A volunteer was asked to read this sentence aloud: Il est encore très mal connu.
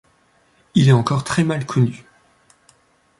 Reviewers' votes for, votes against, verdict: 2, 0, accepted